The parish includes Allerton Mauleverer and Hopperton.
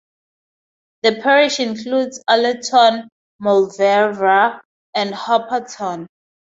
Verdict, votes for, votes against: accepted, 2, 0